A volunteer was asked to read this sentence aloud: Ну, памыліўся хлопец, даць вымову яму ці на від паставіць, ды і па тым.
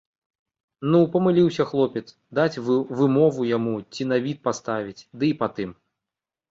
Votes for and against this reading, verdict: 0, 2, rejected